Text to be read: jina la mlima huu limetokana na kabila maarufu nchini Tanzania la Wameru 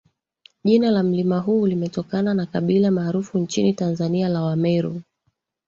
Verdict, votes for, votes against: rejected, 0, 2